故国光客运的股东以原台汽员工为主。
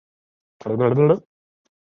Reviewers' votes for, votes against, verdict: 1, 3, rejected